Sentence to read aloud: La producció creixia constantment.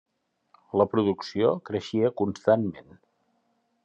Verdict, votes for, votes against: rejected, 1, 2